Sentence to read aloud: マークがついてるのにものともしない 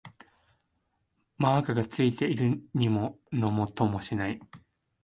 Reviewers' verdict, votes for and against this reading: rejected, 2, 4